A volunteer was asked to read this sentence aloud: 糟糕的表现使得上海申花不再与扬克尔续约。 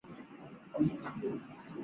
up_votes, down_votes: 0, 2